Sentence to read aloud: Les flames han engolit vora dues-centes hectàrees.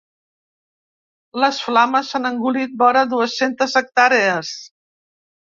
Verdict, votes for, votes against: accepted, 2, 0